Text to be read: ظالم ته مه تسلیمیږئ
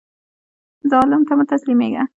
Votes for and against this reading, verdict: 0, 2, rejected